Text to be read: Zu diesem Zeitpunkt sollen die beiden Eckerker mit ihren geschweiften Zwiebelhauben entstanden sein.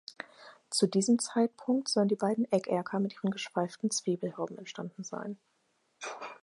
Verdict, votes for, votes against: accepted, 4, 2